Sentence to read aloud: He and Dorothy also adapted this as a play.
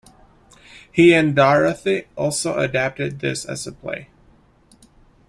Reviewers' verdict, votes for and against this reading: rejected, 1, 2